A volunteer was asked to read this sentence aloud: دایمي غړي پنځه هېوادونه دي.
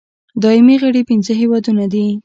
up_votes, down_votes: 2, 0